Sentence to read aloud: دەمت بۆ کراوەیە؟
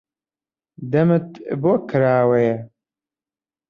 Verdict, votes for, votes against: accepted, 2, 0